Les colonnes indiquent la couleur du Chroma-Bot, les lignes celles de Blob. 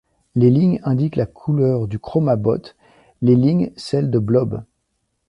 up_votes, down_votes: 1, 2